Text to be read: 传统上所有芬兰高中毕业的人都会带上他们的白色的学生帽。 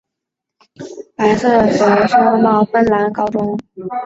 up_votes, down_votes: 0, 2